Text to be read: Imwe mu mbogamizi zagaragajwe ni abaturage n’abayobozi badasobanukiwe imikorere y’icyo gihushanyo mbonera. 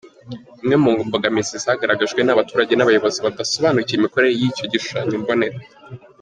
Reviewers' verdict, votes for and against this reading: accepted, 2, 1